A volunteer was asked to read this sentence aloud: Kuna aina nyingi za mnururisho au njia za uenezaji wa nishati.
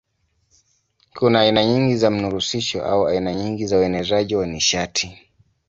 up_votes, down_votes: 1, 2